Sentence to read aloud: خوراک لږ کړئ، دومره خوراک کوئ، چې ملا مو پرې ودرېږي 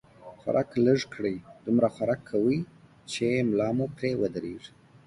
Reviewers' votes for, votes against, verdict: 3, 1, accepted